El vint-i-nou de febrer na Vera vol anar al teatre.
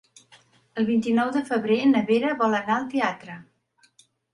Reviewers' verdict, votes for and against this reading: accepted, 3, 0